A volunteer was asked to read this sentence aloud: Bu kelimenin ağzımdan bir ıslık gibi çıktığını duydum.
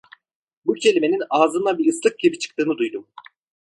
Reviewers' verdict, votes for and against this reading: accepted, 2, 0